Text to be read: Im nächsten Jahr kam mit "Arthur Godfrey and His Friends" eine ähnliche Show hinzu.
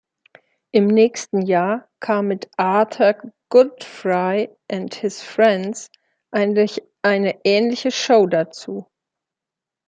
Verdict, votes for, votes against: rejected, 0, 2